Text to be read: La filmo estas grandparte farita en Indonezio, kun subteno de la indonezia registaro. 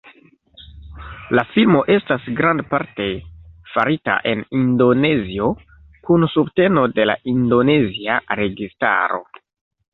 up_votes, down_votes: 1, 2